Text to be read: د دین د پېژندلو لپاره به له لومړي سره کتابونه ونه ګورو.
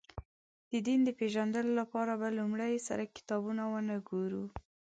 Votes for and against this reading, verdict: 1, 2, rejected